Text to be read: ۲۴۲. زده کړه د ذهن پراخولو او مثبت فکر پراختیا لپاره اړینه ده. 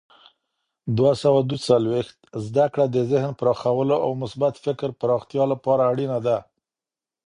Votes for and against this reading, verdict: 0, 2, rejected